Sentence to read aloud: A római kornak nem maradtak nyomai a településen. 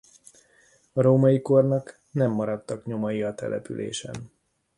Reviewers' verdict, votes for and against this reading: accepted, 2, 0